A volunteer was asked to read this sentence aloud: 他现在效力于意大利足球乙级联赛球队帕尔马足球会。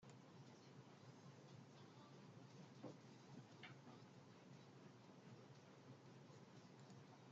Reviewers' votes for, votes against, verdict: 0, 2, rejected